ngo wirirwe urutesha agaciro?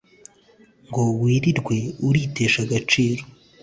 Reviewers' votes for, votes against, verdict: 1, 2, rejected